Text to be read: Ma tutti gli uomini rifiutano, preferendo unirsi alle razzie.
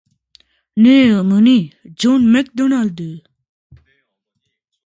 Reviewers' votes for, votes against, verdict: 0, 2, rejected